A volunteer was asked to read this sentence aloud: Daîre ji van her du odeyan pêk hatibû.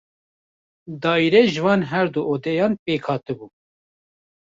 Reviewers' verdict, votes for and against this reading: rejected, 1, 2